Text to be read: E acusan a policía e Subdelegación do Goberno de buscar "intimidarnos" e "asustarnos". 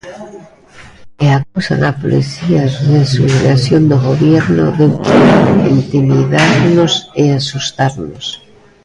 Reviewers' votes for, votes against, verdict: 0, 2, rejected